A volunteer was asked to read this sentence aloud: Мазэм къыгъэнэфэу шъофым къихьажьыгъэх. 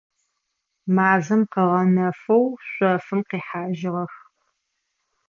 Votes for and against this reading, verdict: 2, 0, accepted